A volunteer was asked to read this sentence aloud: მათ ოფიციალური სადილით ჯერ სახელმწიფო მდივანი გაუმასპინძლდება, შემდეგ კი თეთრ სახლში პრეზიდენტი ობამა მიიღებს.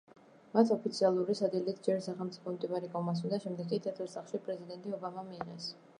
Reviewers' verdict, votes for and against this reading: rejected, 1, 2